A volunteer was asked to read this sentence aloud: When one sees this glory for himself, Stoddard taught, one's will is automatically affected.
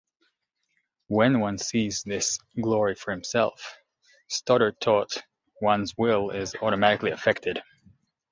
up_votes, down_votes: 2, 1